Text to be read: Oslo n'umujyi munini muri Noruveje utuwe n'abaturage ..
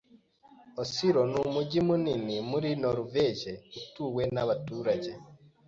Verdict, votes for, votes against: accepted, 2, 0